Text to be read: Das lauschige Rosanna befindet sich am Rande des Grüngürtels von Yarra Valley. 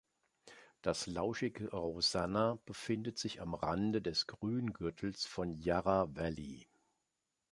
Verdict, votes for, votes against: accepted, 2, 0